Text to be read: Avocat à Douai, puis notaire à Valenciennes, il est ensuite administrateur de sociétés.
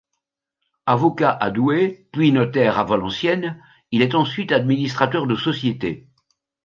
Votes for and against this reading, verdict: 3, 0, accepted